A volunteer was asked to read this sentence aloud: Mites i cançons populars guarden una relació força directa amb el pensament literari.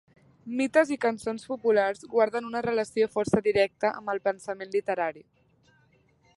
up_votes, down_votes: 3, 0